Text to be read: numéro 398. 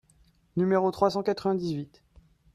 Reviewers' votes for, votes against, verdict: 0, 2, rejected